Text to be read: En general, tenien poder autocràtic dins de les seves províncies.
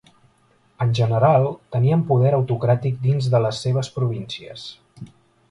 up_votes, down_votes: 2, 0